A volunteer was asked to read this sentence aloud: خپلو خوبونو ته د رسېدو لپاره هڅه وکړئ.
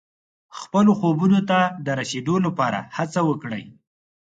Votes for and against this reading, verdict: 4, 0, accepted